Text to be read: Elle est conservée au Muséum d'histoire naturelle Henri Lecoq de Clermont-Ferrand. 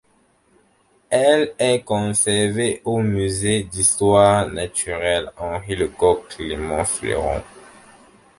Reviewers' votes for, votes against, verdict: 0, 2, rejected